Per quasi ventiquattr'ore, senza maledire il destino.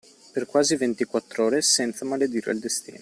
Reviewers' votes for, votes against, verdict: 2, 1, accepted